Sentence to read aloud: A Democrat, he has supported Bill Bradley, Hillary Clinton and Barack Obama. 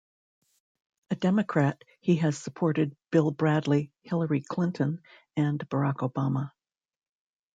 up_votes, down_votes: 2, 0